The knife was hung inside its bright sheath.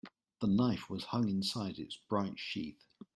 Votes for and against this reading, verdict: 2, 1, accepted